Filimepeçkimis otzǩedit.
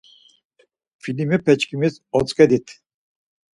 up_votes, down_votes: 4, 0